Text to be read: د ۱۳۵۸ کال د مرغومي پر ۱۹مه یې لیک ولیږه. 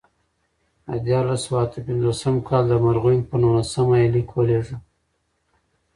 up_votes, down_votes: 0, 2